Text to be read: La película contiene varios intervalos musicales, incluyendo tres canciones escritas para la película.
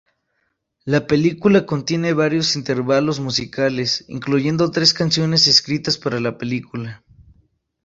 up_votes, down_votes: 2, 0